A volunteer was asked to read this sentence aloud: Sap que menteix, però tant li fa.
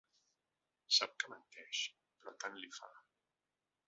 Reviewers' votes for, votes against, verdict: 1, 2, rejected